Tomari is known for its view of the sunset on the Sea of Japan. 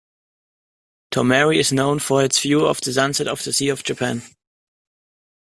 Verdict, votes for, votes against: accepted, 2, 1